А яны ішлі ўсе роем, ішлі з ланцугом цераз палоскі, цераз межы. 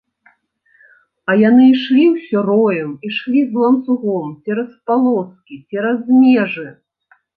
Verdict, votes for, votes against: rejected, 1, 2